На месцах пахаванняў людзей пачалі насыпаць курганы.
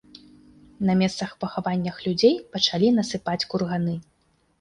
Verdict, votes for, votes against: rejected, 1, 2